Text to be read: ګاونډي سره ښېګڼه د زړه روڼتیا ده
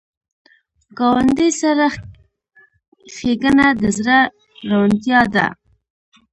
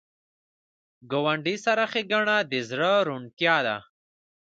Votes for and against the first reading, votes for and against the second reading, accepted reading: 1, 2, 2, 0, second